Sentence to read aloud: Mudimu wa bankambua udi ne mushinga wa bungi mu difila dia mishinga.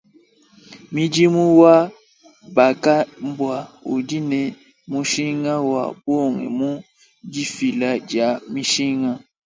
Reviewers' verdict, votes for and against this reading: rejected, 0, 2